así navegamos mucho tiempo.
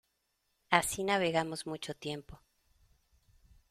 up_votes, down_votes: 2, 0